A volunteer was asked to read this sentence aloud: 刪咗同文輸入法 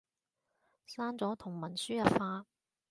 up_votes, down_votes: 2, 0